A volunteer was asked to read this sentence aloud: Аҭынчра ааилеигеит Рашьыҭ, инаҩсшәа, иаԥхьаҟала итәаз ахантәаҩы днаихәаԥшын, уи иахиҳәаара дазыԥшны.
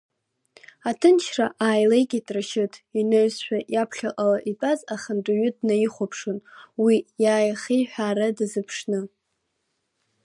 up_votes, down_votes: 1, 2